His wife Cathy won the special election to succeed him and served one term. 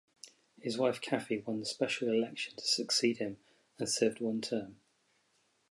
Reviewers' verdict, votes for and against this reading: accepted, 4, 0